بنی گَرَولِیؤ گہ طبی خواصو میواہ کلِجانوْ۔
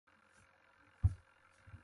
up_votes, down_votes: 0, 2